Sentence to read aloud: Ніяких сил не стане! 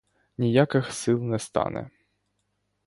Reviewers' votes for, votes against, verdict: 2, 0, accepted